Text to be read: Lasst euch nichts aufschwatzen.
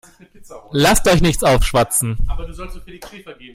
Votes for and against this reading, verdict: 1, 2, rejected